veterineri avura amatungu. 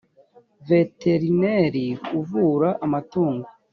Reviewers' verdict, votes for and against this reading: rejected, 1, 2